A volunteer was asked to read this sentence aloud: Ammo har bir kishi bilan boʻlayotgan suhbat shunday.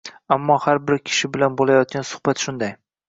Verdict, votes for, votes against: accepted, 2, 0